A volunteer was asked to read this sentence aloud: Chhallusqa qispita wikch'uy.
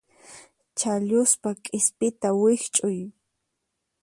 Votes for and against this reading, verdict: 2, 4, rejected